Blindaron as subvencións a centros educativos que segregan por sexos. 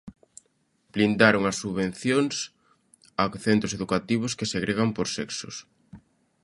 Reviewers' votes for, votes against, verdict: 2, 0, accepted